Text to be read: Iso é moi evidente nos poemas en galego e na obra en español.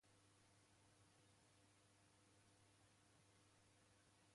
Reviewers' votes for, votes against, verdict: 0, 2, rejected